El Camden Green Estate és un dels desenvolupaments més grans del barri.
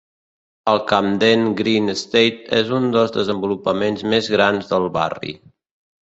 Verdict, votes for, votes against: accepted, 2, 0